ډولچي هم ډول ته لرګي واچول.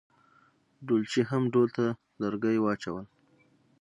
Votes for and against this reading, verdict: 3, 0, accepted